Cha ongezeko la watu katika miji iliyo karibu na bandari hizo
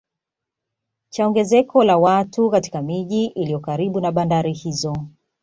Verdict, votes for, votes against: accepted, 2, 0